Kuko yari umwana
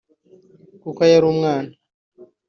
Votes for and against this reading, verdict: 2, 0, accepted